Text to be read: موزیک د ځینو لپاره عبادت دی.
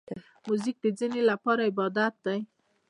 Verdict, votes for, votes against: accepted, 2, 0